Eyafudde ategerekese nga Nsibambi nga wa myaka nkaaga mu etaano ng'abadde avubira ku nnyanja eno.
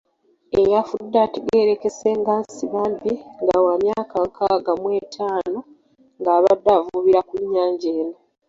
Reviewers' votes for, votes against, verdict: 1, 2, rejected